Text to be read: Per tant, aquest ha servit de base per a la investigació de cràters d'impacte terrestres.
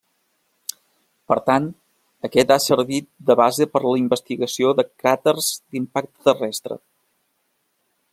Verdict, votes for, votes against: rejected, 1, 2